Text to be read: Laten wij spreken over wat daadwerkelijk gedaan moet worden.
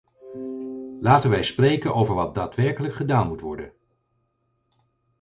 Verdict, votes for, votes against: rejected, 2, 4